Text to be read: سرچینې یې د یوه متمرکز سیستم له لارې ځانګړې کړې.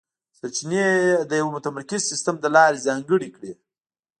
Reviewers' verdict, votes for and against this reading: accepted, 2, 0